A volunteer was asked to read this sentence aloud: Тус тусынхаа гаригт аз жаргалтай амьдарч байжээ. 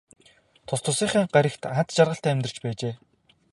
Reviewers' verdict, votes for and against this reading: accepted, 2, 0